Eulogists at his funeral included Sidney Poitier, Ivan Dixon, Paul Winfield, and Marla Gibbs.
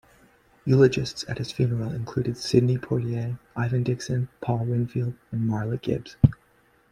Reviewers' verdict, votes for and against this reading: accepted, 2, 0